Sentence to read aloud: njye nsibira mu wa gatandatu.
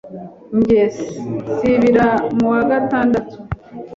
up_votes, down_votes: 1, 2